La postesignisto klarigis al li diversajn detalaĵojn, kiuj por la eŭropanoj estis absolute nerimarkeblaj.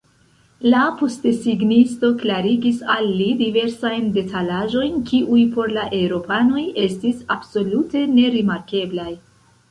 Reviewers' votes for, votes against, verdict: 1, 2, rejected